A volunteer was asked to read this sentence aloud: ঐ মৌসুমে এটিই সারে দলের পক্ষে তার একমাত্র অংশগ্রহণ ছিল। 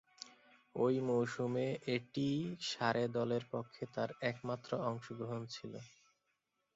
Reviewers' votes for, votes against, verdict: 3, 0, accepted